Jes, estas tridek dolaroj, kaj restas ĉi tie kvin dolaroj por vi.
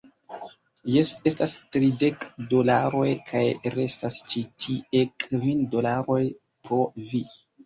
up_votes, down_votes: 0, 2